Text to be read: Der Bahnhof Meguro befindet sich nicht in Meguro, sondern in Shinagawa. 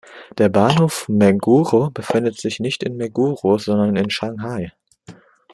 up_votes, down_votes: 0, 2